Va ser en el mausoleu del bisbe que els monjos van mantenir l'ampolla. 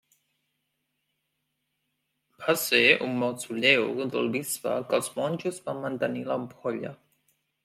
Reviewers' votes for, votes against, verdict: 2, 1, accepted